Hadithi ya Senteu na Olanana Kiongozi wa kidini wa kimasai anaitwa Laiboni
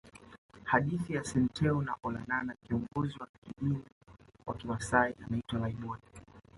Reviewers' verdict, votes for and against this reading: rejected, 0, 2